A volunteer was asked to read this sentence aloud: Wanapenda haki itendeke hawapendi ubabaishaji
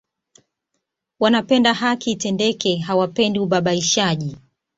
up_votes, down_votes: 2, 1